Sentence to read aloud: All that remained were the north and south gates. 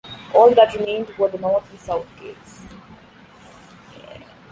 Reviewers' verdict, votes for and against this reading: accepted, 2, 0